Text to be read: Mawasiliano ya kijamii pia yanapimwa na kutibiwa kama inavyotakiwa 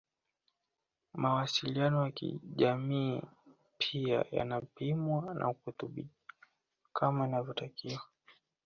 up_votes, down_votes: 2, 1